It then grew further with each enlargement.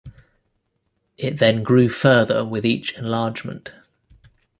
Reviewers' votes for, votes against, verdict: 2, 0, accepted